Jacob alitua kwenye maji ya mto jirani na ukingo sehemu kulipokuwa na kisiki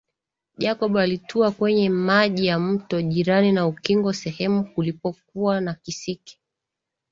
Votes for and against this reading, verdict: 2, 0, accepted